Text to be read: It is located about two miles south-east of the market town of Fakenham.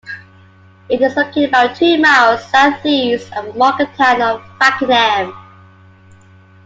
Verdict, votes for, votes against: accepted, 2, 1